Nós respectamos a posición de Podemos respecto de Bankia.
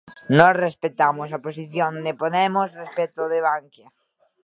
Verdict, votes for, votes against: rejected, 0, 2